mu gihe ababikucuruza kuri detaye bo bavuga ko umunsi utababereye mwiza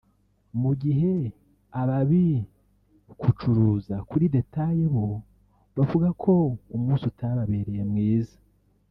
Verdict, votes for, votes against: rejected, 0, 2